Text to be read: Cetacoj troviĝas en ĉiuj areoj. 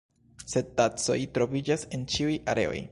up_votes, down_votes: 0, 2